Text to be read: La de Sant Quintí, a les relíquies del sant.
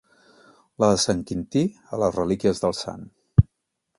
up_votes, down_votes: 2, 0